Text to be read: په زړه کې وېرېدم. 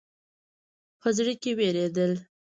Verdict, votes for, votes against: rejected, 1, 2